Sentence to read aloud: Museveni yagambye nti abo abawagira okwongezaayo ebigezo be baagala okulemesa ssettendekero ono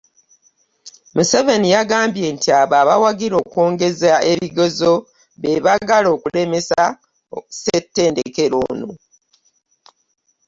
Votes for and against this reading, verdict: 0, 2, rejected